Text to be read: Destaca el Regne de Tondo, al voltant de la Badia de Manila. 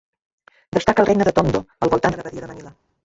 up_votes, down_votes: 0, 2